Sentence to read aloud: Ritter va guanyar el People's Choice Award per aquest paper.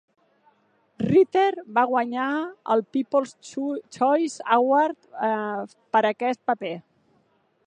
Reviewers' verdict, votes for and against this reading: rejected, 0, 2